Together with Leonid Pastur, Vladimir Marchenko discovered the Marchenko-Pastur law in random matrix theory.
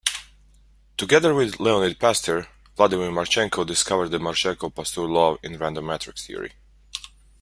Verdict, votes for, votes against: accepted, 2, 0